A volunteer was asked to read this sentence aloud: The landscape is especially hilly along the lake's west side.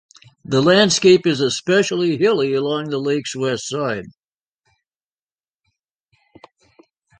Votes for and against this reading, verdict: 2, 0, accepted